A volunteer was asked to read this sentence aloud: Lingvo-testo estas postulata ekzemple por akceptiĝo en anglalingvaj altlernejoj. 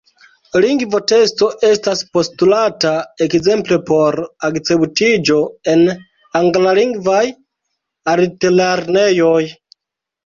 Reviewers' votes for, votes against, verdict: 0, 2, rejected